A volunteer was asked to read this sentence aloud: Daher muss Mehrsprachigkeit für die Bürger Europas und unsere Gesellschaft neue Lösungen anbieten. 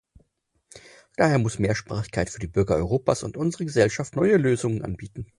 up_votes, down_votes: 4, 0